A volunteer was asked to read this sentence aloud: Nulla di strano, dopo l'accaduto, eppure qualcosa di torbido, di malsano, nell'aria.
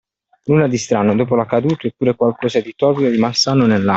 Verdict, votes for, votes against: rejected, 0, 2